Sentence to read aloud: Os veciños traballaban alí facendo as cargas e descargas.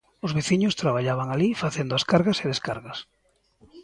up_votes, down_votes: 2, 0